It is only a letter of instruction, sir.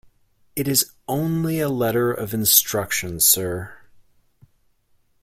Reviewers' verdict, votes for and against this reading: accepted, 2, 0